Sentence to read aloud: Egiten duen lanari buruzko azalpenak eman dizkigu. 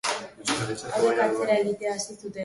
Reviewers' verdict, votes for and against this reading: rejected, 0, 2